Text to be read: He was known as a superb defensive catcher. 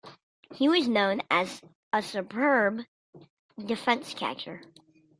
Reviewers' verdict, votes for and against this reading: rejected, 0, 2